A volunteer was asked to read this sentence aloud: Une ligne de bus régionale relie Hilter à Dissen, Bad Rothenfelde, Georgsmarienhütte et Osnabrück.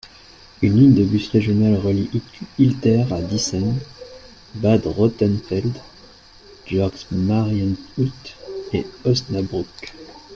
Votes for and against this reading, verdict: 1, 2, rejected